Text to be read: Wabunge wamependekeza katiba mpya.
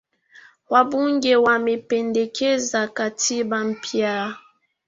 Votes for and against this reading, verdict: 2, 0, accepted